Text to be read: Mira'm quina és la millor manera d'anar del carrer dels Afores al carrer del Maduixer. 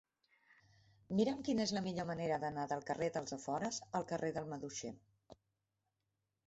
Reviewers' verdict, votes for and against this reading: accepted, 2, 0